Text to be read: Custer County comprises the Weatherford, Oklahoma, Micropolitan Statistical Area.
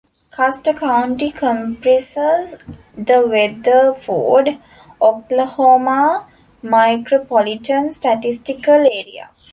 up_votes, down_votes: 0, 2